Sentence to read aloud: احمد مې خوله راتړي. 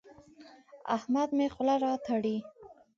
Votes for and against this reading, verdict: 2, 0, accepted